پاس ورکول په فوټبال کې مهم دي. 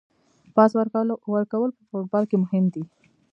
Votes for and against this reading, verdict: 1, 2, rejected